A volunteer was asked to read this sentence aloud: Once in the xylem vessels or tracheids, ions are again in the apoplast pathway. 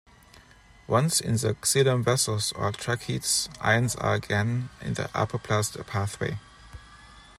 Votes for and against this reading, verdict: 0, 2, rejected